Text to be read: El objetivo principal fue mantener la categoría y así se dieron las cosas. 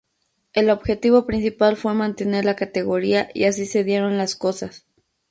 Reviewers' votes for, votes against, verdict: 4, 0, accepted